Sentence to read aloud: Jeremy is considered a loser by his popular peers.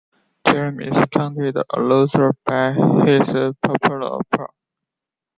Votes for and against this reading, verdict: 0, 2, rejected